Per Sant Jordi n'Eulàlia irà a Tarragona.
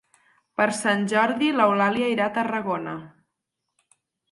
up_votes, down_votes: 0, 4